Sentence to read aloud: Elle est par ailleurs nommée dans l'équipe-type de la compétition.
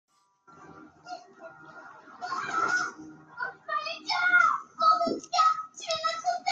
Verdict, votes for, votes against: rejected, 0, 2